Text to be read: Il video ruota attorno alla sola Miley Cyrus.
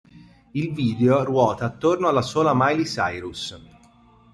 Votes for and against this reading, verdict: 2, 1, accepted